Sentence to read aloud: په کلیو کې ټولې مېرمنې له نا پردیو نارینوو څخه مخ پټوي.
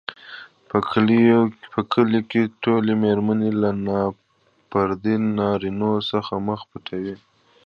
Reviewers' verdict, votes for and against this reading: rejected, 1, 2